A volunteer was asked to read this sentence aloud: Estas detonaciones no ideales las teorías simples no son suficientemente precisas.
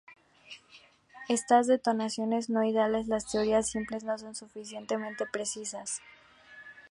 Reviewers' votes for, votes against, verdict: 2, 2, rejected